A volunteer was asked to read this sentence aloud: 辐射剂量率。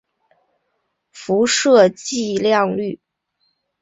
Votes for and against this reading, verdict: 2, 0, accepted